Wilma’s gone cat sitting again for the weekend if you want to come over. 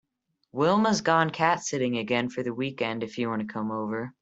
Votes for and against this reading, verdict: 3, 0, accepted